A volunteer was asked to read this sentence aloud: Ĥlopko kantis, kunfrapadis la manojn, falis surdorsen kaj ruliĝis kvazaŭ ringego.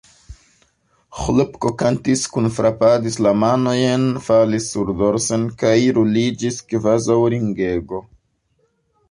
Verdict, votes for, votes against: rejected, 2, 3